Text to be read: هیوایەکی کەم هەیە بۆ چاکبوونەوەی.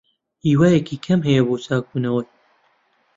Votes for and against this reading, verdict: 0, 2, rejected